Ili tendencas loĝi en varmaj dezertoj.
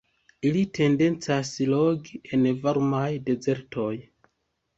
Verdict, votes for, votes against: rejected, 0, 2